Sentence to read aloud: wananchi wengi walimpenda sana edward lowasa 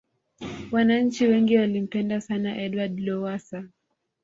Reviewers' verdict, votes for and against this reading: accepted, 2, 0